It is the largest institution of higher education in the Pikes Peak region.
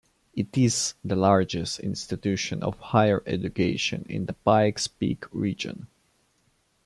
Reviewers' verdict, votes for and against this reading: accepted, 2, 0